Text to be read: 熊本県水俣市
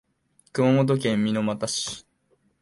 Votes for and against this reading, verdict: 0, 2, rejected